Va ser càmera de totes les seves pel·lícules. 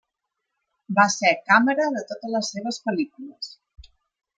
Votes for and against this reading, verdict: 3, 0, accepted